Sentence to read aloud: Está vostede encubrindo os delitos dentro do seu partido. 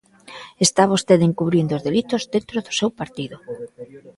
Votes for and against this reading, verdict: 2, 0, accepted